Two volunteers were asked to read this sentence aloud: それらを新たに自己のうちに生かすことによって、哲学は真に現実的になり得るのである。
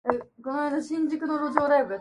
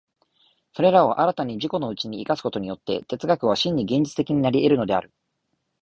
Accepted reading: second